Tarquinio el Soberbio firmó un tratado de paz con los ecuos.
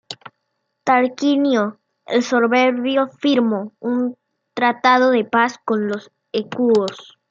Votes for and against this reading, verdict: 0, 2, rejected